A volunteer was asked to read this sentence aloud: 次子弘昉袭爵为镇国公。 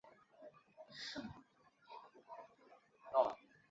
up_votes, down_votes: 1, 2